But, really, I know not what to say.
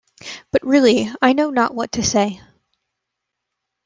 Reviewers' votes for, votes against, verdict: 2, 0, accepted